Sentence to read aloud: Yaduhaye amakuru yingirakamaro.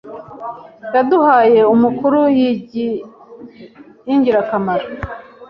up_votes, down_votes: 2, 0